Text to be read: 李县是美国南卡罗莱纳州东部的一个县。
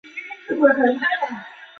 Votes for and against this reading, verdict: 1, 2, rejected